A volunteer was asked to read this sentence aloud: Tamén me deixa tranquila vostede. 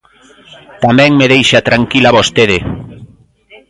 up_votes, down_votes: 2, 0